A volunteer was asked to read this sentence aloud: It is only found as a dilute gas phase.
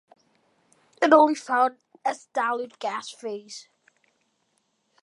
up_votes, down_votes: 0, 2